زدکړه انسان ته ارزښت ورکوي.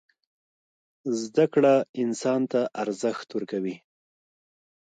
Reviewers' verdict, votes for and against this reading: accepted, 2, 0